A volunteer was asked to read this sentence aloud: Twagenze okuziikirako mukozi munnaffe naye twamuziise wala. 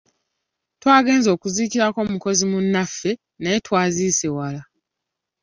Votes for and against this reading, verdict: 0, 2, rejected